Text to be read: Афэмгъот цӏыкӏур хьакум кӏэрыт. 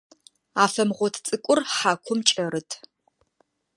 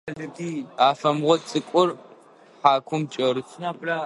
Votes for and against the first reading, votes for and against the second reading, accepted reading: 2, 0, 0, 2, first